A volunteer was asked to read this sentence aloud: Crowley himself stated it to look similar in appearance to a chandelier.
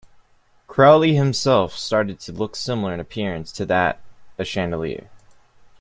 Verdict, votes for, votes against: rejected, 0, 2